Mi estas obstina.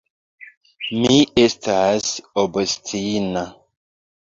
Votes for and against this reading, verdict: 2, 0, accepted